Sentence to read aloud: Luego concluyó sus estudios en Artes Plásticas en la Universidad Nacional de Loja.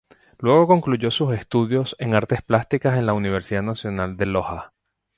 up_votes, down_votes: 0, 2